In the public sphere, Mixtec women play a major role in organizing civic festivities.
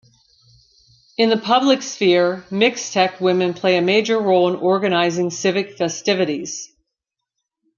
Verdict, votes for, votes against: accepted, 2, 0